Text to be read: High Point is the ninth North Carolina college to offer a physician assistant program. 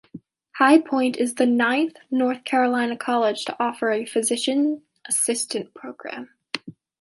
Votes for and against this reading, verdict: 2, 0, accepted